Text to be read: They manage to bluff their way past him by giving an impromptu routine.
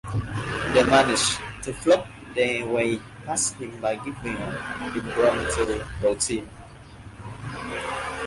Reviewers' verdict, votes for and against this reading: rejected, 0, 2